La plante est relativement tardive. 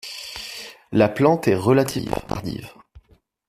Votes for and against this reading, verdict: 1, 2, rejected